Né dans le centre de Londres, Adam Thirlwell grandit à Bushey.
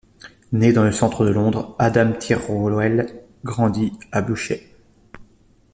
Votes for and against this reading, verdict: 2, 1, accepted